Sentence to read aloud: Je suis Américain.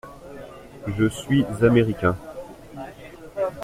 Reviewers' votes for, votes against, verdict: 2, 0, accepted